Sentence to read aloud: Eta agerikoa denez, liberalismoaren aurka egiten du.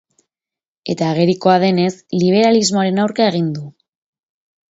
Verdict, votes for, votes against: rejected, 2, 2